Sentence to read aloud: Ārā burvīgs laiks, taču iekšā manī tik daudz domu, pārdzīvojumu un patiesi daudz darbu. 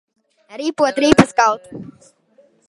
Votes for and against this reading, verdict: 0, 2, rejected